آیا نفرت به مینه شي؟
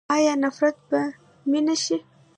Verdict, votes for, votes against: rejected, 1, 2